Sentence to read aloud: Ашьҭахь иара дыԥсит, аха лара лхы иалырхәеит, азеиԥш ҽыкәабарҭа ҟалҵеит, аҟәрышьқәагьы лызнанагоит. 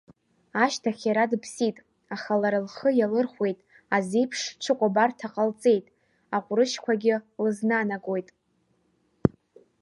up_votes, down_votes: 2, 0